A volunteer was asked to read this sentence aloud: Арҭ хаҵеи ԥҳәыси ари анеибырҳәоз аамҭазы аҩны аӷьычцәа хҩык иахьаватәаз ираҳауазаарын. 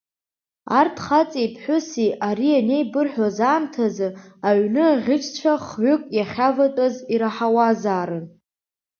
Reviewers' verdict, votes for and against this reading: accepted, 3, 0